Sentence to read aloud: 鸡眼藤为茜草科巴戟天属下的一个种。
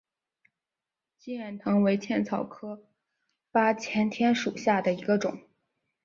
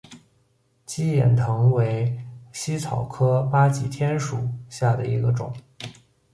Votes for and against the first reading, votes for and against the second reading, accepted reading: 0, 2, 2, 0, second